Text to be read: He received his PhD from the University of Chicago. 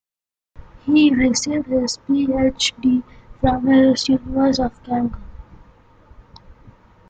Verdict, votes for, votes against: rejected, 1, 2